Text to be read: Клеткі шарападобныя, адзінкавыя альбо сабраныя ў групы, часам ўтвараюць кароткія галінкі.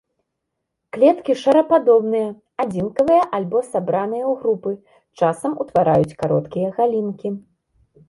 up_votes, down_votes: 1, 2